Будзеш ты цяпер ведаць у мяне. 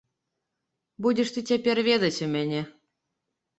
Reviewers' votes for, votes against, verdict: 2, 0, accepted